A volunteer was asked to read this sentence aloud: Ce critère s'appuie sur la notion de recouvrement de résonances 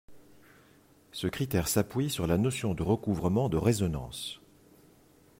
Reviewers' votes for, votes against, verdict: 2, 1, accepted